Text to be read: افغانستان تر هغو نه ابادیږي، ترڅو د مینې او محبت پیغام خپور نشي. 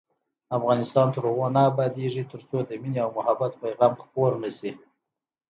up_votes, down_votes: 2, 0